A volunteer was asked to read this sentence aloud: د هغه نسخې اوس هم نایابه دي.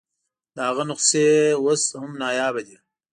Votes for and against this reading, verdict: 2, 0, accepted